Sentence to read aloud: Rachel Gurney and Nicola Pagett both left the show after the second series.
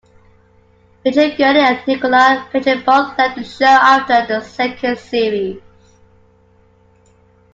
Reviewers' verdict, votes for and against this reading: accepted, 2, 1